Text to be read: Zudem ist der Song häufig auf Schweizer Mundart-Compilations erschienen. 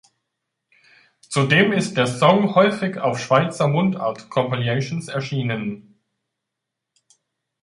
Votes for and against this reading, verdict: 0, 2, rejected